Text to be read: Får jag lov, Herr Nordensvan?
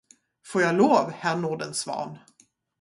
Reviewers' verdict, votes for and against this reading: accepted, 2, 0